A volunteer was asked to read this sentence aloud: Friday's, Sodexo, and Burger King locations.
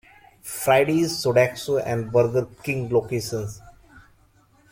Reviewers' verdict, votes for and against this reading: rejected, 0, 2